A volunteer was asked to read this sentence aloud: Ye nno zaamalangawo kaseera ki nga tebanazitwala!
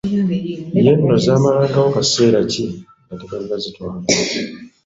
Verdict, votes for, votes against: rejected, 1, 2